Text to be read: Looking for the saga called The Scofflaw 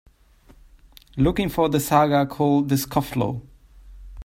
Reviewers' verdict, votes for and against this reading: accepted, 2, 1